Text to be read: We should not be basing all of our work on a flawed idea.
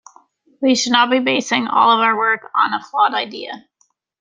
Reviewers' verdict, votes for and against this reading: accepted, 2, 1